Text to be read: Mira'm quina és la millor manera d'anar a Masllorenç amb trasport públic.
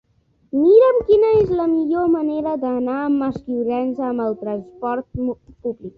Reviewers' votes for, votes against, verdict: 1, 2, rejected